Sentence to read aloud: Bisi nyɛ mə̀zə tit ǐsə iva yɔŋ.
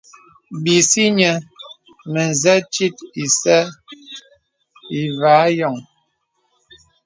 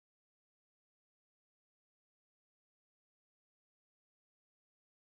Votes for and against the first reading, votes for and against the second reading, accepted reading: 2, 0, 0, 2, first